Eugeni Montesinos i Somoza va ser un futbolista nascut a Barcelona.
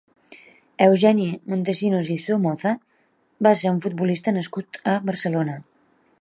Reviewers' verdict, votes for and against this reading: accepted, 2, 0